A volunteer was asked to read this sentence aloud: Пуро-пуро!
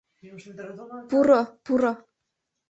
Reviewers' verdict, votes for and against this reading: rejected, 0, 2